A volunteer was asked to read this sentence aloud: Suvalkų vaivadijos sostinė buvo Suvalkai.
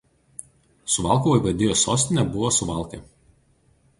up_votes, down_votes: 2, 0